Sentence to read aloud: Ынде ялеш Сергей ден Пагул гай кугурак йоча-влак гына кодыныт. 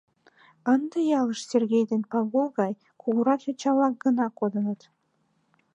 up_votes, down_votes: 0, 2